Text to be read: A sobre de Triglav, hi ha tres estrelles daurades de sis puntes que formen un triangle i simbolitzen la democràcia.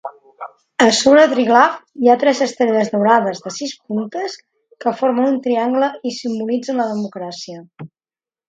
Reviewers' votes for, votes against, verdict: 0, 2, rejected